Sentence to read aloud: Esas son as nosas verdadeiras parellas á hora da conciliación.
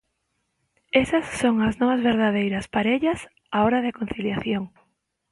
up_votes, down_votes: 0, 2